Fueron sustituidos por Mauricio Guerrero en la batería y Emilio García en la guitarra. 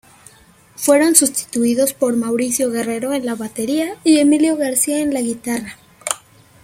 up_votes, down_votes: 2, 0